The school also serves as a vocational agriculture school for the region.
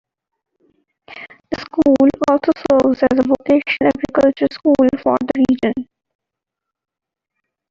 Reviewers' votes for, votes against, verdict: 1, 2, rejected